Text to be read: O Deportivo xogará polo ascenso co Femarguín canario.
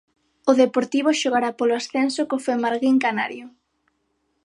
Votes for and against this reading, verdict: 6, 0, accepted